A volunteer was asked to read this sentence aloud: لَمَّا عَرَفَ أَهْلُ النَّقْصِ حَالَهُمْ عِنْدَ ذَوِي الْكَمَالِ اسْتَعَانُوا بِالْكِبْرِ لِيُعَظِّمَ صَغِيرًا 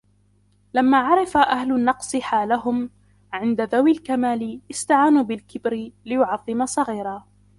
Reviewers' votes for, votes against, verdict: 2, 0, accepted